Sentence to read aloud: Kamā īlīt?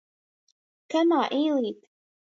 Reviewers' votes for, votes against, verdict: 0, 2, rejected